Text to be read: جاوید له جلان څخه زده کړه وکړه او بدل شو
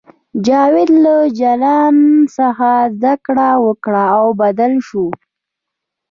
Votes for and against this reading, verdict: 2, 0, accepted